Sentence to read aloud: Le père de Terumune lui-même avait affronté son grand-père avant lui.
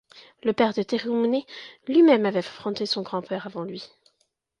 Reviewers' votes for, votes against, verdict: 1, 2, rejected